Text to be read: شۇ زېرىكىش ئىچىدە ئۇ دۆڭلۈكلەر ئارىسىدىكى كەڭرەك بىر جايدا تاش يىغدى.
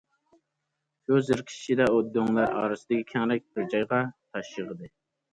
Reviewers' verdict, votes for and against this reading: rejected, 0, 2